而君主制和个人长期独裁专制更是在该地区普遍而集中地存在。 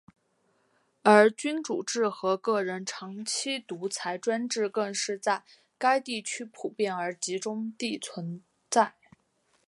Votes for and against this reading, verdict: 4, 0, accepted